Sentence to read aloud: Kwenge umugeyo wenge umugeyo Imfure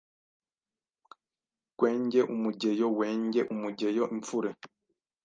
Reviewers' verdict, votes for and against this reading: rejected, 1, 2